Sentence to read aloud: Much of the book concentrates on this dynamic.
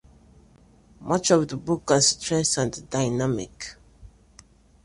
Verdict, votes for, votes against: rejected, 1, 2